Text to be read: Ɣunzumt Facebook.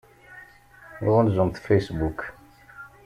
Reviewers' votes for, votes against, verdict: 2, 0, accepted